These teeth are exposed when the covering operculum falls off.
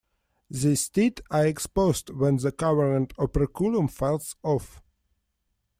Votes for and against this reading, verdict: 2, 1, accepted